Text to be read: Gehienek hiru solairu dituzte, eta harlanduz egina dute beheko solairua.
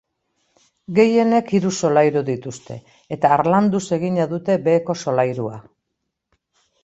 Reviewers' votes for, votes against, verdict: 2, 0, accepted